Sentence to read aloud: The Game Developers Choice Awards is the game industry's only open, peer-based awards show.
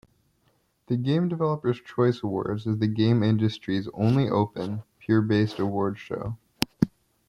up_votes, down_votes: 2, 0